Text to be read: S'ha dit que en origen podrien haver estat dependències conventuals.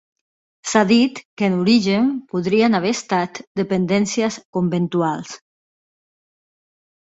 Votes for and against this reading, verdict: 4, 0, accepted